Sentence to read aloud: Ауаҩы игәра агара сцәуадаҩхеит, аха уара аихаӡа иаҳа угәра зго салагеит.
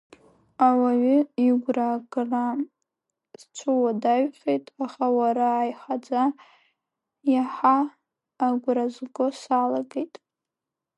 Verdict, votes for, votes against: rejected, 0, 2